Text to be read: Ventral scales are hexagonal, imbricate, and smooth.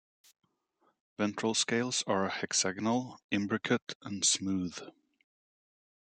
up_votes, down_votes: 2, 0